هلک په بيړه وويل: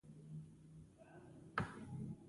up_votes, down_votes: 0, 2